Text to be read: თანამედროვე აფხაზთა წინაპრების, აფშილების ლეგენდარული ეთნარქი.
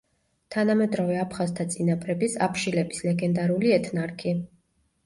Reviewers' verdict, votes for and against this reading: accepted, 2, 0